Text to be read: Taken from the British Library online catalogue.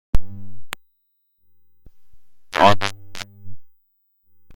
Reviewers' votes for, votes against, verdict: 0, 2, rejected